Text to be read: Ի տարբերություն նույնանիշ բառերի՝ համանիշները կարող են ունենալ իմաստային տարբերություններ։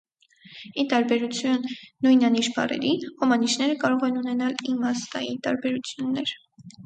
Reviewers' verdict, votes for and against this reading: rejected, 2, 2